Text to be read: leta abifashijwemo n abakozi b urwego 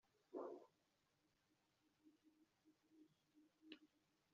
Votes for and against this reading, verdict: 0, 2, rejected